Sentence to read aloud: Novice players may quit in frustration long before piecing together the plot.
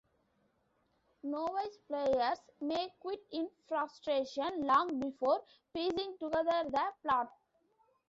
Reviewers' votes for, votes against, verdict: 1, 2, rejected